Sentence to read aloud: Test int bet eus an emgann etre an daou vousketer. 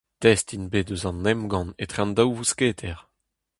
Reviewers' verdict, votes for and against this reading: accepted, 4, 0